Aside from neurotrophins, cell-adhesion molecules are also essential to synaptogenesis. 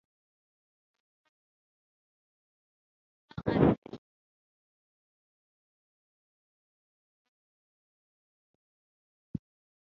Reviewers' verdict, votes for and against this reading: rejected, 0, 3